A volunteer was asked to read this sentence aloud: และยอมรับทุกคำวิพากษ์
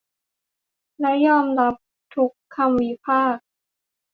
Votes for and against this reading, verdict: 2, 0, accepted